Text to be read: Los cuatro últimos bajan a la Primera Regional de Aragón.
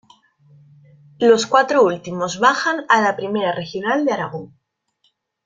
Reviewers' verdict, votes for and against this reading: rejected, 0, 2